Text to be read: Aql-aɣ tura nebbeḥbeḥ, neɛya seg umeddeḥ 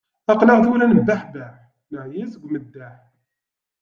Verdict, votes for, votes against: accepted, 2, 0